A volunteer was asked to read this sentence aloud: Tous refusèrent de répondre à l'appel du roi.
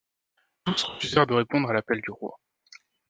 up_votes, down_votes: 2, 0